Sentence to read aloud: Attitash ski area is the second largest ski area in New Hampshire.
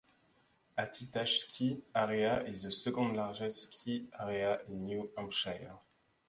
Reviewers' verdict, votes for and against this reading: rejected, 0, 2